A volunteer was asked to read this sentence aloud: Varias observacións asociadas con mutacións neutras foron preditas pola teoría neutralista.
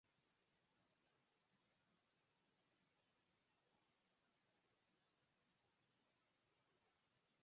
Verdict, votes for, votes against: rejected, 0, 4